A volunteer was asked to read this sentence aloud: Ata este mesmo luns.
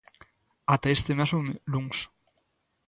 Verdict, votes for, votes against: rejected, 0, 2